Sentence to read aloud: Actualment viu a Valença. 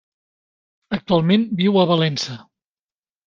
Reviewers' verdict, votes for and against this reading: accepted, 3, 0